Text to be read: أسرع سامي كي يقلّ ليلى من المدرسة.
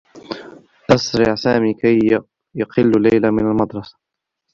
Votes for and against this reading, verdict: 0, 2, rejected